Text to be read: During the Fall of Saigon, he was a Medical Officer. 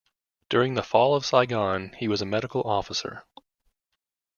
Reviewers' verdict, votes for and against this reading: accepted, 2, 0